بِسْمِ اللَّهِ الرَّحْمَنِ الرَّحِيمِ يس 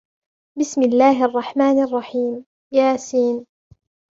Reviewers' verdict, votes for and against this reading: accepted, 2, 0